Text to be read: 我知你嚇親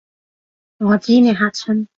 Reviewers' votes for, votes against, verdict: 2, 0, accepted